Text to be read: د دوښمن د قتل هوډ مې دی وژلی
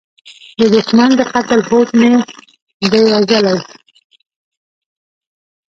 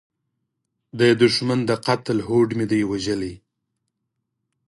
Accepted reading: second